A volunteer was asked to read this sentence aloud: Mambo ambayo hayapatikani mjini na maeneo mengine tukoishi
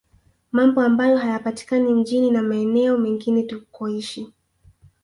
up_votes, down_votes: 2, 0